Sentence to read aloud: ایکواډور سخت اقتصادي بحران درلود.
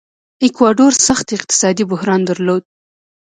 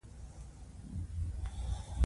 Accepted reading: first